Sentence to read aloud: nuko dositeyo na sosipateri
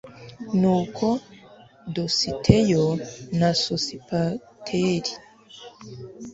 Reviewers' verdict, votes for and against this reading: accepted, 2, 0